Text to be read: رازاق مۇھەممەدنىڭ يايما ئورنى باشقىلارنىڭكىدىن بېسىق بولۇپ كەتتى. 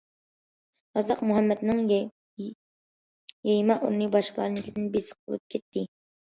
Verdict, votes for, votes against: rejected, 0, 2